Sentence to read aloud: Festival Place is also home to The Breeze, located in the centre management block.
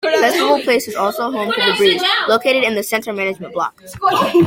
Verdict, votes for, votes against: accepted, 2, 1